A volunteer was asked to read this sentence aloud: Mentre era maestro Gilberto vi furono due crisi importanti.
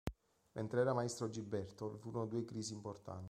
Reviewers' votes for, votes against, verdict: 1, 3, rejected